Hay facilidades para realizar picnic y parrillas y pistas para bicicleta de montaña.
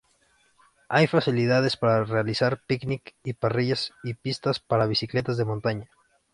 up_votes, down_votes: 0, 2